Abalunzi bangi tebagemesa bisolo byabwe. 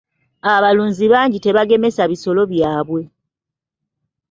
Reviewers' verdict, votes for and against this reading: accepted, 2, 0